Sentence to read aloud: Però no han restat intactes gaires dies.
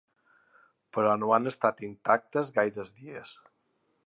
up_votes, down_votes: 4, 3